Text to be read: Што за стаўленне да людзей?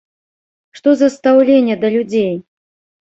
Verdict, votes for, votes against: rejected, 1, 2